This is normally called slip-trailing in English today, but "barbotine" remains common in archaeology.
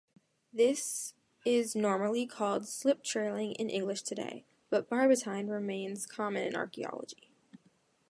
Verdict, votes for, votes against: accepted, 2, 0